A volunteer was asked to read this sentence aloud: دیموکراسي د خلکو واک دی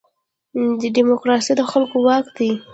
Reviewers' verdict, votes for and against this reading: rejected, 0, 2